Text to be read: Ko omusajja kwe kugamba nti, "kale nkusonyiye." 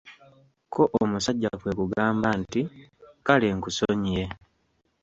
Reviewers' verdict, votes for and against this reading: accepted, 2, 0